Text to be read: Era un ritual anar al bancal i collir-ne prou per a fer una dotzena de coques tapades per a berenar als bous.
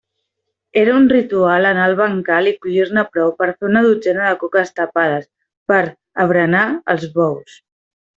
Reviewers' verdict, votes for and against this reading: accepted, 2, 0